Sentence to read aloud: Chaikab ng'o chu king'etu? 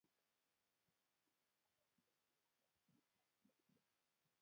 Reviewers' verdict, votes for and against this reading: rejected, 1, 2